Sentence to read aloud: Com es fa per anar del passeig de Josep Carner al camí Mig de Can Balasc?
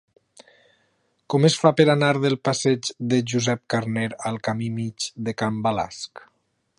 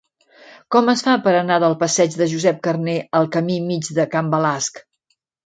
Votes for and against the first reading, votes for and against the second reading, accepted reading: 1, 2, 2, 0, second